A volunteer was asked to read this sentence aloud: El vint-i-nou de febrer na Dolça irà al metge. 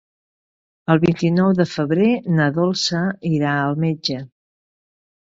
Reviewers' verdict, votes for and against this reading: accepted, 2, 0